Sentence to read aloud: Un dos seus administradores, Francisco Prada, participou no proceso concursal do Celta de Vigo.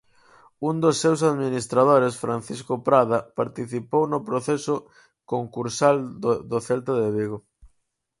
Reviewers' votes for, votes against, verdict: 0, 4, rejected